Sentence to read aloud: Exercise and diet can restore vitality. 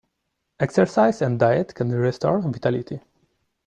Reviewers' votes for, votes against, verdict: 2, 0, accepted